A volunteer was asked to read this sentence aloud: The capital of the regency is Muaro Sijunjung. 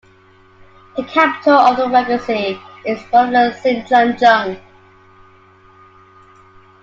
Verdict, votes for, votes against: rejected, 0, 2